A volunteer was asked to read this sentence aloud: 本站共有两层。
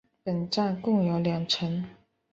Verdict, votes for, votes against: rejected, 1, 2